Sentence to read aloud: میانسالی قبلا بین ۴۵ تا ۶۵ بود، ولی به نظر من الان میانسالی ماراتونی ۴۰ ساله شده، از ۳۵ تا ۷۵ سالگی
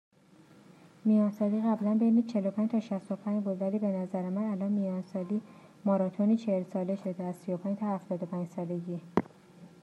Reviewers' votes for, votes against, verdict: 0, 2, rejected